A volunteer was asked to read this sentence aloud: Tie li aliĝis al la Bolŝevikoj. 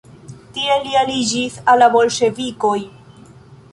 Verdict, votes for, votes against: accepted, 2, 0